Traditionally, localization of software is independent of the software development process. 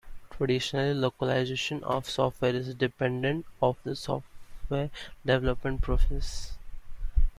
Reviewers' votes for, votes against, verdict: 1, 2, rejected